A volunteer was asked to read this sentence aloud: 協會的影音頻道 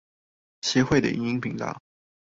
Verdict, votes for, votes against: rejected, 0, 2